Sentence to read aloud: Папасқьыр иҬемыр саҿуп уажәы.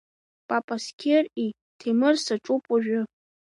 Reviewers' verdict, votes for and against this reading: rejected, 2, 3